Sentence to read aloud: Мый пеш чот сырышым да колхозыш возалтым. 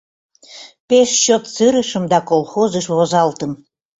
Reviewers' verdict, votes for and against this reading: rejected, 0, 2